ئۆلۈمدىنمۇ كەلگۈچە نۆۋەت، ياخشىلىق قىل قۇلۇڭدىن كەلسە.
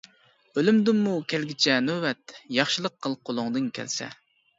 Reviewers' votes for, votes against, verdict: 2, 0, accepted